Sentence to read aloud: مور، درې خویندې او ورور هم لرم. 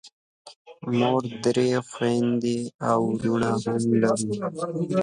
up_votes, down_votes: 1, 2